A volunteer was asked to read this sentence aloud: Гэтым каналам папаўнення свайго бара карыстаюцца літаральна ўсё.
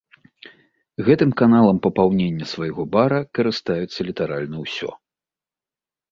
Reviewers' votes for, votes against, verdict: 2, 0, accepted